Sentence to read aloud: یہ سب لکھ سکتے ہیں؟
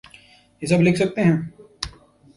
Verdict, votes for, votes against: accepted, 2, 0